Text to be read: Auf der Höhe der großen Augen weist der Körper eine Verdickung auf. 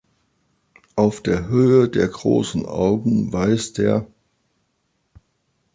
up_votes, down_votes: 0, 2